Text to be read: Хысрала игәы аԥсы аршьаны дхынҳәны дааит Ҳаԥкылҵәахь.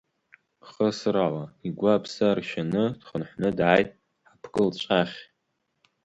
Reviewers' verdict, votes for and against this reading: rejected, 1, 2